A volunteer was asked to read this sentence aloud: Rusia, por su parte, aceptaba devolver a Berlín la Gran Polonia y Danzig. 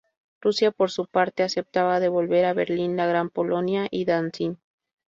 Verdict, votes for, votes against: accepted, 4, 0